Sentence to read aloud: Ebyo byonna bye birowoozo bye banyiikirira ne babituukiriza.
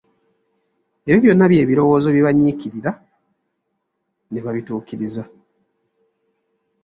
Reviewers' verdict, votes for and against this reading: accepted, 3, 0